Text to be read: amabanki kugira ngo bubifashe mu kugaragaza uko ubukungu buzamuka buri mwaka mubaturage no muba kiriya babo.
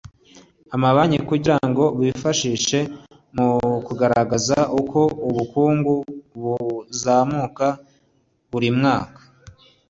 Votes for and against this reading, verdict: 1, 2, rejected